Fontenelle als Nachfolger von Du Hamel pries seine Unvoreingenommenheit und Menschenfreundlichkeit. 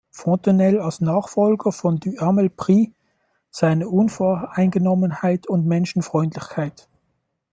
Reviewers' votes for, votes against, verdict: 0, 2, rejected